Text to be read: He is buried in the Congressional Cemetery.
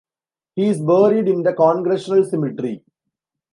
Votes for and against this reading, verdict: 2, 0, accepted